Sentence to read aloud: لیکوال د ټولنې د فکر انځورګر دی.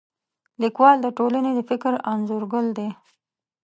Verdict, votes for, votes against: rejected, 0, 2